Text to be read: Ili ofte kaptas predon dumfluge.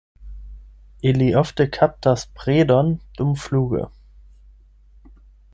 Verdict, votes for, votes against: rejected, 4, 8